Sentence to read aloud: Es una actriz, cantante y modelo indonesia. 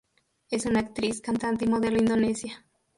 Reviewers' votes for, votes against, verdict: 4, 2, accepted